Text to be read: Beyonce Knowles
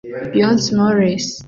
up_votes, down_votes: 2, 1